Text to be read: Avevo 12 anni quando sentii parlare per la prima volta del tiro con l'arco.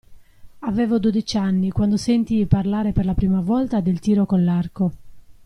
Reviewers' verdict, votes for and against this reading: rejected, 0, 2